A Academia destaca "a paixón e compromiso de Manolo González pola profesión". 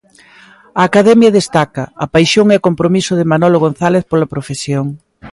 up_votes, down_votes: 2, 0